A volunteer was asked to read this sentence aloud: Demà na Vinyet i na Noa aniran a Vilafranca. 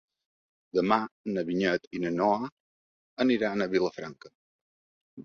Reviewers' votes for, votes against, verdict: 5, 0, accepted